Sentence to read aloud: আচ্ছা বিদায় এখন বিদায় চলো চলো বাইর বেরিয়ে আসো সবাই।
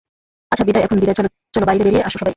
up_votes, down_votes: 0, 2